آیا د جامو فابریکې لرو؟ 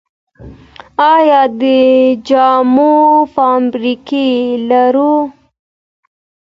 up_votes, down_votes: 2, 0